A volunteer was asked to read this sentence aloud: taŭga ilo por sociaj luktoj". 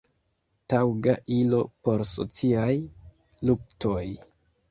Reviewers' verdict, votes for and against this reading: accepted, 2, 1